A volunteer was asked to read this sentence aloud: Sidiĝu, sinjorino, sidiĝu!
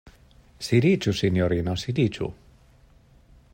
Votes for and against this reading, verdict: 2, 0, accepted